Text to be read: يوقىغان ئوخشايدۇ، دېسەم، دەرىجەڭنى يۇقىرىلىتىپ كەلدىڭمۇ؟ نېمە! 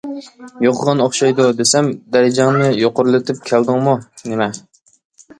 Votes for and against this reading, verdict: 2, 0, accepted